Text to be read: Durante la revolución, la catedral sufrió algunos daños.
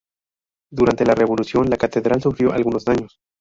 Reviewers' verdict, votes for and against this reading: rejected, 0, 2